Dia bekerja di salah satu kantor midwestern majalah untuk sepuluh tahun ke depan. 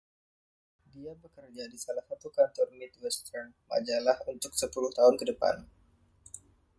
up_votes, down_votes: 1, 2